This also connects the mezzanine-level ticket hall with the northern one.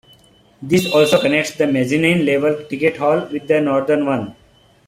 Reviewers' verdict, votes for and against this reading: rejected, 0, 2